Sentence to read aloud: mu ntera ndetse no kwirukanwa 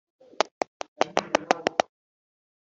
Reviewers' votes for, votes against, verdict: 1, 2, rejected